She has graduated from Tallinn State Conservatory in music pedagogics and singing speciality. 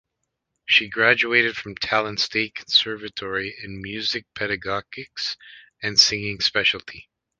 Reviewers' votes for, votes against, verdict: 1, 2, rejected